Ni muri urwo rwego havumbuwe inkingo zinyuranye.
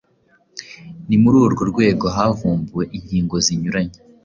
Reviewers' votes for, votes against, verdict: 2, 0, accepted